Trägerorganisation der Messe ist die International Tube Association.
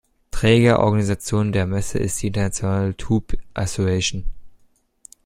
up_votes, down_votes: 0, 2